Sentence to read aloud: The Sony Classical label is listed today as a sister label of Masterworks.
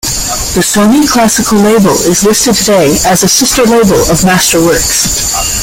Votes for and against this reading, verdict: 1, 2, rejected